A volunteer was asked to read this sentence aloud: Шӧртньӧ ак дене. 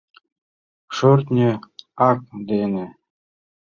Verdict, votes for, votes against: rejected, 0, 2